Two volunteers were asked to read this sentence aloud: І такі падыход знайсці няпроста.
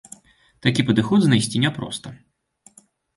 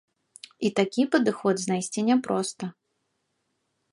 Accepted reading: second